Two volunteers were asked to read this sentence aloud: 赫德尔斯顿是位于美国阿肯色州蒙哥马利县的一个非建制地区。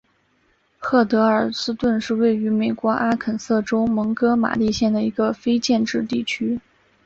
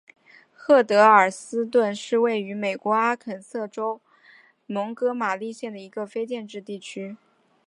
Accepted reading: first